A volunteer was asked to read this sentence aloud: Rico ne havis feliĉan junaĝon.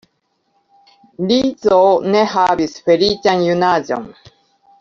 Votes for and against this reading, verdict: 0, 2, rejected